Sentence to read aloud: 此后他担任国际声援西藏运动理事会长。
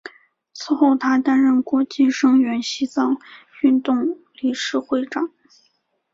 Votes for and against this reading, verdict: 5, 0, accepted